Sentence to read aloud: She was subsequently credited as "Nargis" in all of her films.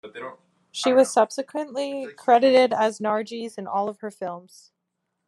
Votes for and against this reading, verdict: 0, 2, rejected